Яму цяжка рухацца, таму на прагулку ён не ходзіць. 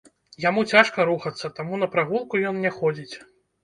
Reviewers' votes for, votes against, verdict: 2, 0, accepted